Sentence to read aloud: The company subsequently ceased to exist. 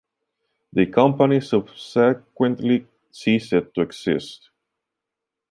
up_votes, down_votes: 0, 2